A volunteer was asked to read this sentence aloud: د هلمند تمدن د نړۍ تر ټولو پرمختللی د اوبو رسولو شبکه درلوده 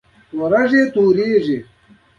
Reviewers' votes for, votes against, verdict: 0, 2, rejected